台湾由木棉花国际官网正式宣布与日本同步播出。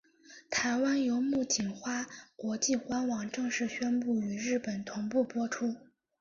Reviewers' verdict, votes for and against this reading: accepted, 2, 1